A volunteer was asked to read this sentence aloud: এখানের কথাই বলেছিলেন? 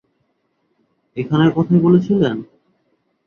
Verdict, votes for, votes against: rejected, 0, 2